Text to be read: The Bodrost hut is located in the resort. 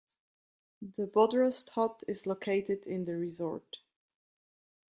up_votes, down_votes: 2, 0